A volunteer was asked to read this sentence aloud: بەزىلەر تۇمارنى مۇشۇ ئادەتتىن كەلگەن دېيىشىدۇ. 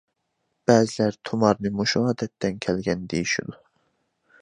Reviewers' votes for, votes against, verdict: 2, 0, accepted